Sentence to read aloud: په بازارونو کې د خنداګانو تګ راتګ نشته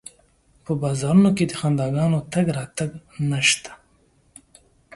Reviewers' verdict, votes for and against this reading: accepted, 2, 0